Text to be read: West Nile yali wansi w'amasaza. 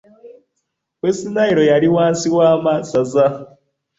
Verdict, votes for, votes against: accepted, 2, 1